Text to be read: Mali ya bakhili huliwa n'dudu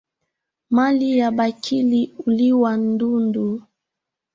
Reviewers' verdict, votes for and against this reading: rejected, 1, 2